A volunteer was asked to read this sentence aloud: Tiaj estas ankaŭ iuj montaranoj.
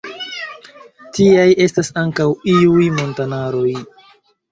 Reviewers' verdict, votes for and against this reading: rejected, 1, 2